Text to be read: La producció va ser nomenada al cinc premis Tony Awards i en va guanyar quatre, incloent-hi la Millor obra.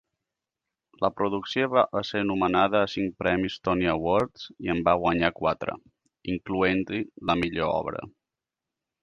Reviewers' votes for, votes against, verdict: 1, 2, rejected